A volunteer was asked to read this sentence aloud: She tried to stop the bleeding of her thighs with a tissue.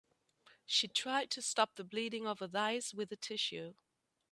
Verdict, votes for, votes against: accepted, 2, 0